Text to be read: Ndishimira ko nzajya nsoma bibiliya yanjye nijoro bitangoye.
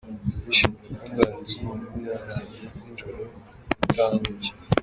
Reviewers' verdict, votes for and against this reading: accepted, 2, 1